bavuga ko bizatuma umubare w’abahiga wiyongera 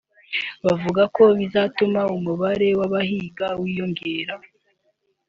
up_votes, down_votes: 2, 0